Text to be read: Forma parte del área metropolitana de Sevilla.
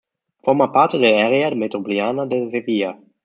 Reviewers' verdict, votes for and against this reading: rejected, 0, 2